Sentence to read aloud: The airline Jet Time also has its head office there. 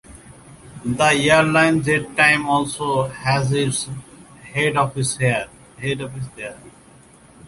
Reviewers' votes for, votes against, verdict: 0, 2, rejected